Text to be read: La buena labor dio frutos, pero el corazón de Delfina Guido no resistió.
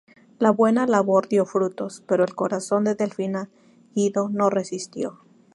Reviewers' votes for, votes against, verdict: 2, 0, accepted